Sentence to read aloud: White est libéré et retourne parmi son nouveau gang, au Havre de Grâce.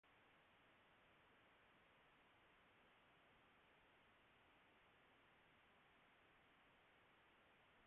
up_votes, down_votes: 0, 2